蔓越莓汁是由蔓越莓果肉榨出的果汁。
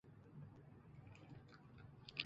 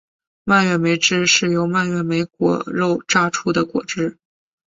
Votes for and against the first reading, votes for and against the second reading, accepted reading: 0, 5, 2, 0, second